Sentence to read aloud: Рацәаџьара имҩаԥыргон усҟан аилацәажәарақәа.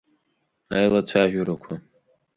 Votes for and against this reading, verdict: 0, 4, rejected